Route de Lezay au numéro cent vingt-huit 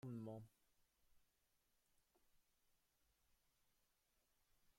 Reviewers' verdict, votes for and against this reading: rejected, 0, 2